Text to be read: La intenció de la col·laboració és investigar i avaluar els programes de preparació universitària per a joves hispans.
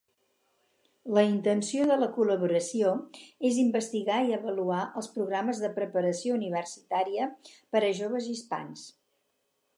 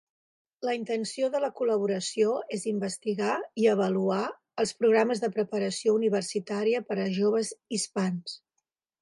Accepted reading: second